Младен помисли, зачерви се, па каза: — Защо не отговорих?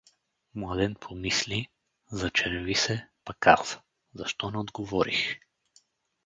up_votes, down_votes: 2, 2